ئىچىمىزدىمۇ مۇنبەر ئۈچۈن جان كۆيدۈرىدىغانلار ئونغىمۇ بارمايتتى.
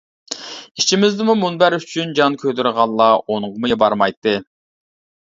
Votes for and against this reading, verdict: 0, 2, rejected